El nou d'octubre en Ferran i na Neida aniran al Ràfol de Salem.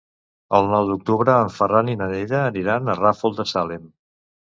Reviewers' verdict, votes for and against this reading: rejected, 0, 2